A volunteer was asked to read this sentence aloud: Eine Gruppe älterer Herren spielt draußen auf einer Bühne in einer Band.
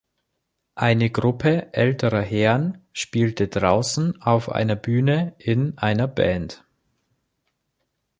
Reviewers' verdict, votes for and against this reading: rejected, 1, 2